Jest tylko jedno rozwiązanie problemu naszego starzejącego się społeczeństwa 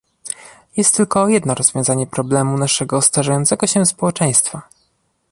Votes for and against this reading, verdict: 2, 0, accepted